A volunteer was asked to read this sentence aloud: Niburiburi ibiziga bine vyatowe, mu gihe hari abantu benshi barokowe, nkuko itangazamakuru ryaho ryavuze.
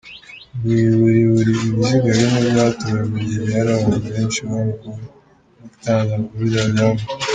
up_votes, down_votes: 0, 2